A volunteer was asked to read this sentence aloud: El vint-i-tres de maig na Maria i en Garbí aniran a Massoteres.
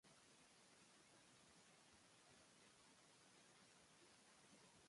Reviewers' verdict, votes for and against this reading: rejected, 0, 2